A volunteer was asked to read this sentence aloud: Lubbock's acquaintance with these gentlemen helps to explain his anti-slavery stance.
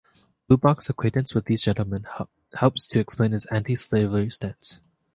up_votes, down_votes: 2, 1